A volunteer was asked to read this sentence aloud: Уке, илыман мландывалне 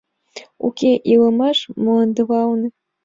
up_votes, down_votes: 1, 3